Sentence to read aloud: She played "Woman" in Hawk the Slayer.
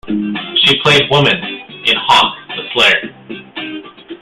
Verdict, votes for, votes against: rejected, 1, 2